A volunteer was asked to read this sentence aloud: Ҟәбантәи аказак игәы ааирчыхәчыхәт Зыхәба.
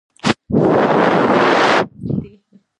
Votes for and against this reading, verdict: 0, 2, rejected